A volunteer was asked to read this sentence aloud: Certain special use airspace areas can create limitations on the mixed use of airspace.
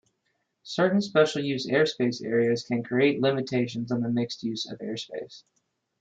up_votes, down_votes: 2, 0